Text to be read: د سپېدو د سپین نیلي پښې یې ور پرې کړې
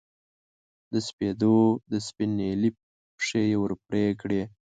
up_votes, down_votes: 2, 0